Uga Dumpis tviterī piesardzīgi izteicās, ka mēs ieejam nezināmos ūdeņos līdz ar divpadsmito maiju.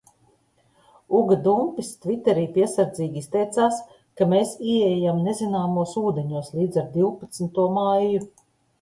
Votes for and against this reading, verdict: 2, 0, accepted